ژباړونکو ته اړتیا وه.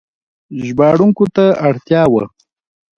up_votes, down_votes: 3, 2